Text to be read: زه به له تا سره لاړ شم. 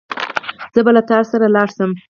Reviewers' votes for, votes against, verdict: 2, 4, rejected